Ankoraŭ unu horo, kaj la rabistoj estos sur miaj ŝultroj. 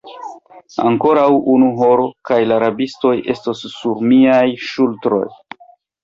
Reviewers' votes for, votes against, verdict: 2, 0, accepted